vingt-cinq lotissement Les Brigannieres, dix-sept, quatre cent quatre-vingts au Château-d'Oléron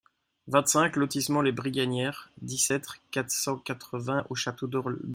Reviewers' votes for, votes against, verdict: 2, 0, accepted